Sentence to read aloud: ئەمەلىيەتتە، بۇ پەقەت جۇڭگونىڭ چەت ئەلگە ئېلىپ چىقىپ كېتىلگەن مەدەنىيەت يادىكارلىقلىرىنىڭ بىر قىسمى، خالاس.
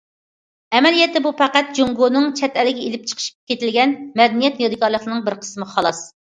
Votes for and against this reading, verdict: 1, 2, rejected